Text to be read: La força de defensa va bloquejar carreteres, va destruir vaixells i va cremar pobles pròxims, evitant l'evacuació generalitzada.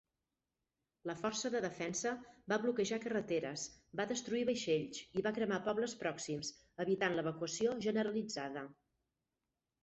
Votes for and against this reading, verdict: 2, 4, rejected